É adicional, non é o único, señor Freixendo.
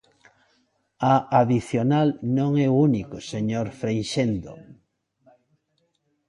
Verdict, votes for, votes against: rejected, 0, 2